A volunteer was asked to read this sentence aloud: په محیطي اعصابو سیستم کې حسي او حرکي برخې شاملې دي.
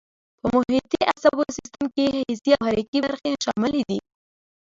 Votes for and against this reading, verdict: 2, 0, accepted